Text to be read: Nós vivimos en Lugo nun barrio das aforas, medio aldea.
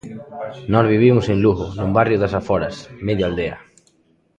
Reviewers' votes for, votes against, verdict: 1, 2, rejected